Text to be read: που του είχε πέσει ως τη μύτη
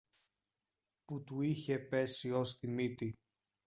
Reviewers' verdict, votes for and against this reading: accepted, 2, 0